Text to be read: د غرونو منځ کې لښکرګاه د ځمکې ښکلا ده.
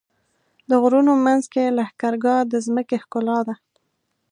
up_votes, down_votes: 2, 0